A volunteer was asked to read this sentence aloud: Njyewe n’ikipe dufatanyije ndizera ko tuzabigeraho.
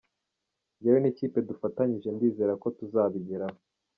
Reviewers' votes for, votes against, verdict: 3, 0, accepted